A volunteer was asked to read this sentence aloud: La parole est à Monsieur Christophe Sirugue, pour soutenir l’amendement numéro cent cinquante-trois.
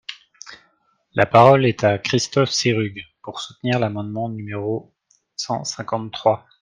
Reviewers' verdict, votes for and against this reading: accepted, 2, 1